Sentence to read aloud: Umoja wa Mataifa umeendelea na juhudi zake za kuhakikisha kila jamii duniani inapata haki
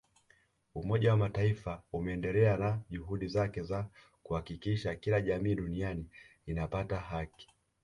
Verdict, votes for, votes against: accepted, 2, 0